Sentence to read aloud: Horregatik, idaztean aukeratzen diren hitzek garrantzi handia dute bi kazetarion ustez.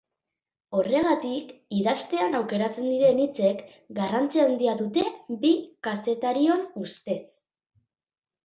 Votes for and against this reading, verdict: 3, 0, accepted